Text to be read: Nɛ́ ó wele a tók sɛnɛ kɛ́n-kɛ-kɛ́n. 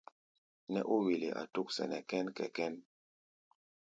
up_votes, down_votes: 2, 0